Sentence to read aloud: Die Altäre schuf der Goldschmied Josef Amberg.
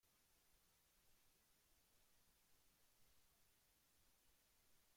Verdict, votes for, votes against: rejected, 0, 2